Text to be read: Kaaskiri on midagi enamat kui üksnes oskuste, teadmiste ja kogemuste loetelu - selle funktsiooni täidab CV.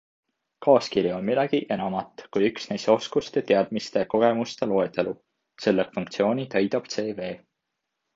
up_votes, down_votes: 2, 1